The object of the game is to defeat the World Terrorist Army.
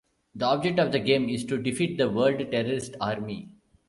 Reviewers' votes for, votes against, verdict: 2, 1, accepted